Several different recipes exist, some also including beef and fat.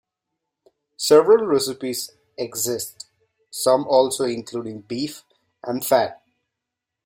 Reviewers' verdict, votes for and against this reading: rejected, 0, 2